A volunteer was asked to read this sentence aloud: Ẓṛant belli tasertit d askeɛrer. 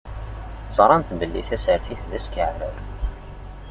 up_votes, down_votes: 2, 0